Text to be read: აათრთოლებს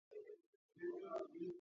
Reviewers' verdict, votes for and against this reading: rejected, 0, 2